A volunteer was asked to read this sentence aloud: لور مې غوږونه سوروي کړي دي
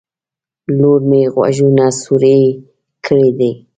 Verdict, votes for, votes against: accepted, 2, 0